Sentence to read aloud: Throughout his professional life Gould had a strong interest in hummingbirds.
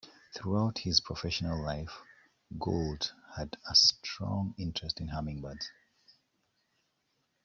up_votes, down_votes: 2, 0